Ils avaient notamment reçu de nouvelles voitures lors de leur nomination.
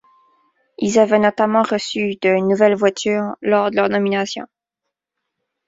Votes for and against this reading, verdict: 2, 0, accepted